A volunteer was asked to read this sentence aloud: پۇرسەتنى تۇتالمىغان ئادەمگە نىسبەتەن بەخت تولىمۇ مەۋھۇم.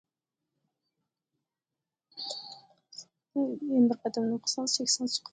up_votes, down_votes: 0, 2